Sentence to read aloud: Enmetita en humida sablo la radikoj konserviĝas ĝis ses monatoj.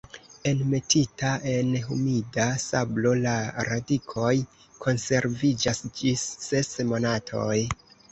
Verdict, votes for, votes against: accepted, 2, 0